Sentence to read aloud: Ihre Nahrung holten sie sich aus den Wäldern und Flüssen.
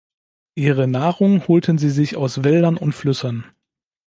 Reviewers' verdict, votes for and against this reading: rejected, 0, 2